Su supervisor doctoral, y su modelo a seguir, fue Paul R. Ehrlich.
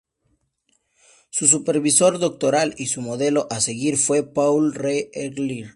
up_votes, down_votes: 2, 2